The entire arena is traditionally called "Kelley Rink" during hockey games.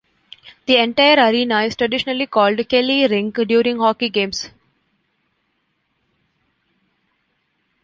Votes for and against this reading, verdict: 2, 0, accepted